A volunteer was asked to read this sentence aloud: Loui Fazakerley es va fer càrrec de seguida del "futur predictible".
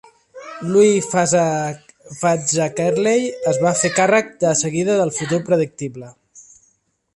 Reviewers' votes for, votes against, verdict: 0, 2, rejected